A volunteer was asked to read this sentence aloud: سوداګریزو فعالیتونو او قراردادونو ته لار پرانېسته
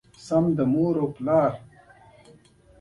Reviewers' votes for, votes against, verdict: 2, 1, accepted